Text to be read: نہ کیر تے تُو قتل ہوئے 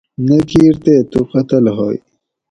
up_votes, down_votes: 4, 0